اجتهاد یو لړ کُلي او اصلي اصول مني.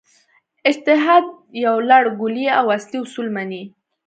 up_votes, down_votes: 2, 0